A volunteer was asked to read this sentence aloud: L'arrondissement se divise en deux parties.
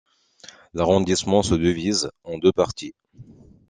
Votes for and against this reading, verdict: 1, 2, rejected